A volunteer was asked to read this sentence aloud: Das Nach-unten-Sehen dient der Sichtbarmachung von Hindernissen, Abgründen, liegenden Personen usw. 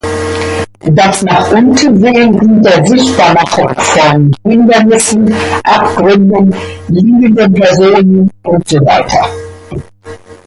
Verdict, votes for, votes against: rejected, 1, 2